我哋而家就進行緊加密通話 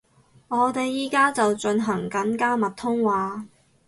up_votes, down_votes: 2, 4